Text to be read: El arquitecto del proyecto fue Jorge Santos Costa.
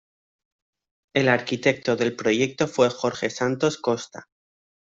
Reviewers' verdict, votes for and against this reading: accepted, 2, 0